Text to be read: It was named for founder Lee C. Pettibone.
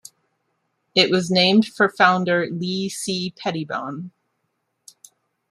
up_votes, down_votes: 2, 0